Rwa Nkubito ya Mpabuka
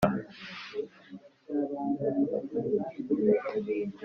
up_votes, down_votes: 1, 2